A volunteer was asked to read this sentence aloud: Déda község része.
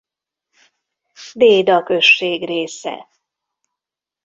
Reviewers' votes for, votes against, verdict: 2, 0, accepted